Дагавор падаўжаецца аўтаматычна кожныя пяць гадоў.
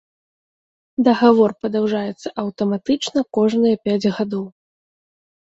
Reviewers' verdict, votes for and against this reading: accepted, 2, 0